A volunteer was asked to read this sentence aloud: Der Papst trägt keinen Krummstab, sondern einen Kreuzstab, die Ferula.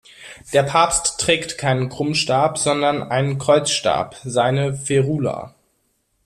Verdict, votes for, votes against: rejected, 0, 2